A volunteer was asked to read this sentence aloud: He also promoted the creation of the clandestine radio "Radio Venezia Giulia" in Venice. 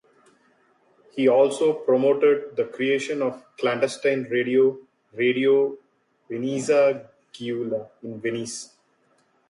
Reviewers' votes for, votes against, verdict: 2, 1, accepted